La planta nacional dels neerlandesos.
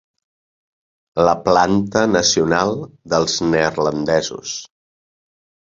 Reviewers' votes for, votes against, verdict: 3, 0, accepted